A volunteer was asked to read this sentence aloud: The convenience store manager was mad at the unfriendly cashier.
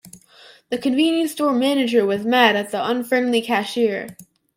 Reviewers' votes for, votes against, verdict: 2, 0, accepted